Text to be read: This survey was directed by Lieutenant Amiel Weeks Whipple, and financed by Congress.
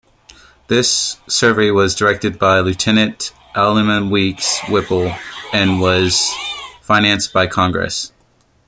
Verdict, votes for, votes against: rejected, 1, 2